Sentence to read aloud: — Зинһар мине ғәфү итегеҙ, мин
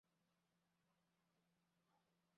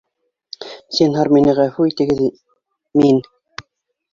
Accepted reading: second